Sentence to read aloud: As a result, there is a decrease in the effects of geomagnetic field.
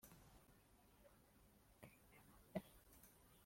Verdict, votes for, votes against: rejected, 0, 2